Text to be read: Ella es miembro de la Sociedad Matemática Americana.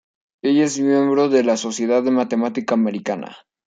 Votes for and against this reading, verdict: 1, 2, rejected